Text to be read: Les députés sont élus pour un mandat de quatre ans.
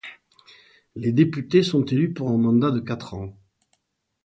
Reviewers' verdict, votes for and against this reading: accepted, 2, 0